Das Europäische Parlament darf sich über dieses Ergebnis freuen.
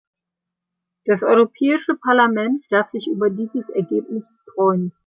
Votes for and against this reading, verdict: 3, 0, accepted